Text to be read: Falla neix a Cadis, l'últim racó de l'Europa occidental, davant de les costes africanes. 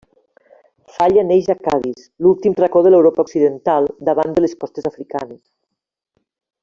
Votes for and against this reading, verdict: 1, 2, rejected